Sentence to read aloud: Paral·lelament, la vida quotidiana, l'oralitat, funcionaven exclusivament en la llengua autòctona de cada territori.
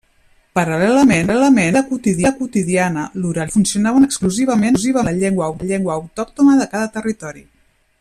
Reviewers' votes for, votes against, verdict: 0, 2, rejected